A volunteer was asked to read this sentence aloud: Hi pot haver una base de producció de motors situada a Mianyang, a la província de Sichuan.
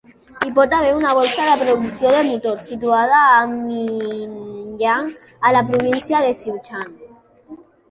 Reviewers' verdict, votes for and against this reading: rejected, 1, 2